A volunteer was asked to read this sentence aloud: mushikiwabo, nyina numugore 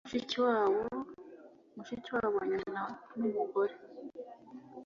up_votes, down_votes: 1, 2